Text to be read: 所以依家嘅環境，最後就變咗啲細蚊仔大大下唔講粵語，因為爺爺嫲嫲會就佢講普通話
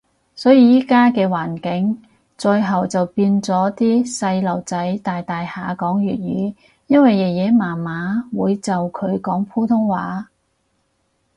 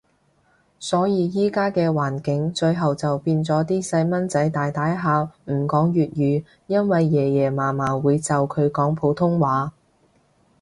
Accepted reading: second